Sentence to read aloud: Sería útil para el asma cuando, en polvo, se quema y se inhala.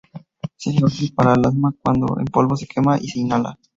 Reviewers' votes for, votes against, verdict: 0, 2, rejected